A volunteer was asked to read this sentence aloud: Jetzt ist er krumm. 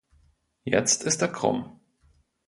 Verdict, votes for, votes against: accepted, 2, 0